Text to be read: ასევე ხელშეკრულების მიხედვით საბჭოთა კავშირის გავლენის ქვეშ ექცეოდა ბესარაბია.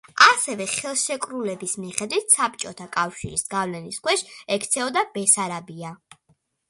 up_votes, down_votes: 2, 0